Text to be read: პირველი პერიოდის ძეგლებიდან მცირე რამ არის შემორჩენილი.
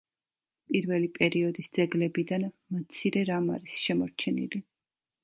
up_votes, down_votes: 2, 0